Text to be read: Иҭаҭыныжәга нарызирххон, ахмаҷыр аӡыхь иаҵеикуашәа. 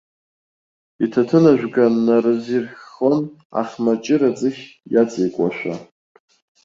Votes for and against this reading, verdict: 1, 2, rejected